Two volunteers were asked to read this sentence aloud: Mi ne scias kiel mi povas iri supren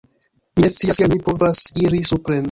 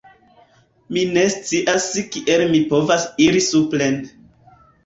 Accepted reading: second